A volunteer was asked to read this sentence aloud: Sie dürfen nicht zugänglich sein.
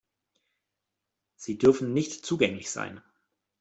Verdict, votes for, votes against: accepted, 2, 0